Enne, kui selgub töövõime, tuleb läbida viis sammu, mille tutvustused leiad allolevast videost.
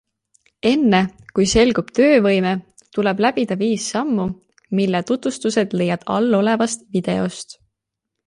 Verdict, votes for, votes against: accepted, 2, 0